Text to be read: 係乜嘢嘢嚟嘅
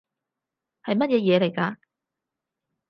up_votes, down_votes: 0, 4